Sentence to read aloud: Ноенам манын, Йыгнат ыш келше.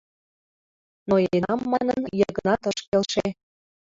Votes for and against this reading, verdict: 2, 0, accepted